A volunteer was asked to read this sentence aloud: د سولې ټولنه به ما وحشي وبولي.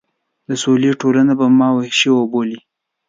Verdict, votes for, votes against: accepted, 2, 0